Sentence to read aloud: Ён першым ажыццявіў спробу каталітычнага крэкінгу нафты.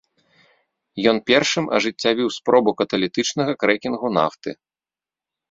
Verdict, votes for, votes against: accepted, 2, 0